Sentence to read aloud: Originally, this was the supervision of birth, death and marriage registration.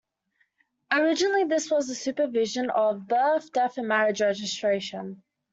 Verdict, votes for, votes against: accepted, 2, 1